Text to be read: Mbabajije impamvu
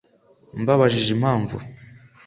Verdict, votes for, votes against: accepted, 2, 0